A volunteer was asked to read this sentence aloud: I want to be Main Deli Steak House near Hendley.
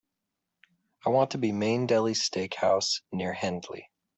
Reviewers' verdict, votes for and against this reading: accepted, 4, 0